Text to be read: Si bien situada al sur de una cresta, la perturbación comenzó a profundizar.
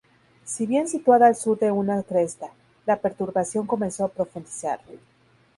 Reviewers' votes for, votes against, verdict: 0, 2, rejected